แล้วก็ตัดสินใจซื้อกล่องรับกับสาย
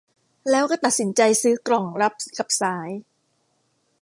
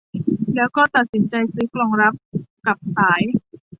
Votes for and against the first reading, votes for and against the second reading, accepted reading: 1, 2, 2, 0, second